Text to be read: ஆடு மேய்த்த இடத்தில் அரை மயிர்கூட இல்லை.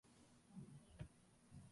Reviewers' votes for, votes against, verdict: 0, 2, rejected